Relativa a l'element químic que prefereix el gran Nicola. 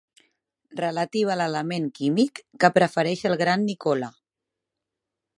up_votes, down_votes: 3, 0